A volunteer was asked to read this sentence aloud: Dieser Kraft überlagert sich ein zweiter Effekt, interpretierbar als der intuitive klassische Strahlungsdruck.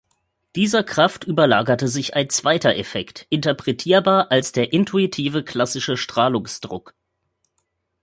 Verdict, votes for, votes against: rejected, 0, 2